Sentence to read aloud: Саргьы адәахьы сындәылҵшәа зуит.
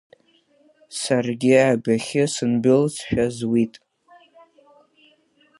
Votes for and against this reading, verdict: 2, 1, accepted